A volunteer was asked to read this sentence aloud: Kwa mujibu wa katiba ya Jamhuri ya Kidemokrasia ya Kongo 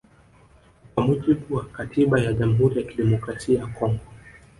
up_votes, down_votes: 2, 0